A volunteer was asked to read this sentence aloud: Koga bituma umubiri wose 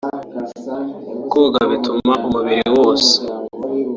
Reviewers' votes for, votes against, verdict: 2, 0, accepted